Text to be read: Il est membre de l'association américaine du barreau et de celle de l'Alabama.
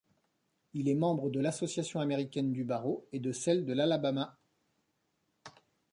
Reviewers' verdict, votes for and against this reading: accepted, 2, 0